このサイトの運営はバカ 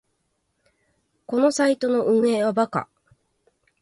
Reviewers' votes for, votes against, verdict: 4, 6, rejected